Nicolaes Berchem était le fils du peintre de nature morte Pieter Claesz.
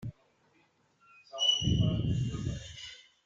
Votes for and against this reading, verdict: 0, 2, rejected